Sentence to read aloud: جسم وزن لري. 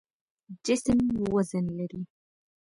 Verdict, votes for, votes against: accepted, 2, 0